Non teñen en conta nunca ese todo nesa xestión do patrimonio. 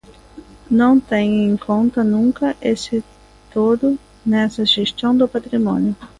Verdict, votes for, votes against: accepted, 2, 1